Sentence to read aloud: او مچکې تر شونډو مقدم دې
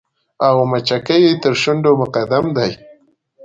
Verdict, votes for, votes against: rejected, 1, 2